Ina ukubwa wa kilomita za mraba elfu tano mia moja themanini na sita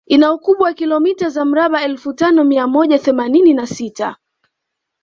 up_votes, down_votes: 1, 2